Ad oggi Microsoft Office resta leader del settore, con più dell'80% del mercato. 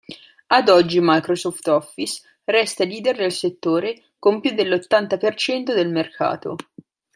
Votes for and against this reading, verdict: 0, 2, rejected